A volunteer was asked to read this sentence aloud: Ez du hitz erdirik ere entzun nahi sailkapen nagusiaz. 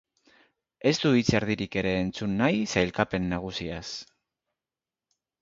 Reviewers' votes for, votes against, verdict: 5, 0, accepted